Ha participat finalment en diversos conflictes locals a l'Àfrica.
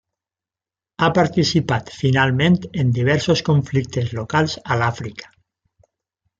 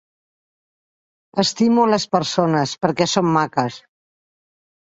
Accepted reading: first